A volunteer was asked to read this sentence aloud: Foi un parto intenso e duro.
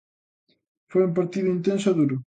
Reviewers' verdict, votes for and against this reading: rejected, 0, 2